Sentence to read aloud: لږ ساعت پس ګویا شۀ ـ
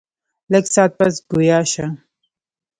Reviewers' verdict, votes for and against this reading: rejected, 0, 2